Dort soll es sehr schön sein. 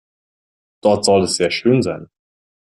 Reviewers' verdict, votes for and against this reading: accepted, 2, 0